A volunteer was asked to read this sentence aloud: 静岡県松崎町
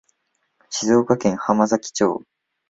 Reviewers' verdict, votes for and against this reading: rejected, 0, 2